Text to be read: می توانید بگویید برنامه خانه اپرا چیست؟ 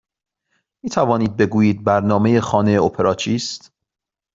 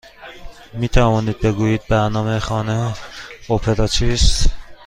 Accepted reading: first